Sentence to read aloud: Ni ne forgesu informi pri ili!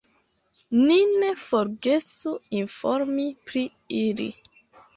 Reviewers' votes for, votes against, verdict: 2, 0, accepted